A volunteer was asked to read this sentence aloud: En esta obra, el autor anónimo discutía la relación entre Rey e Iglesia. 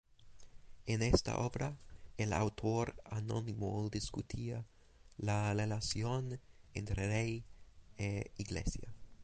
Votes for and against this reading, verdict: 2, 2, rejected